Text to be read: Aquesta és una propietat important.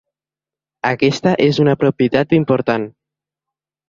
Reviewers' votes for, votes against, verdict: 2, 0, accepted